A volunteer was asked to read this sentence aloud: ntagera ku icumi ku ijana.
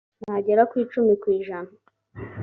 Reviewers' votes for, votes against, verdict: 2, 0, accepted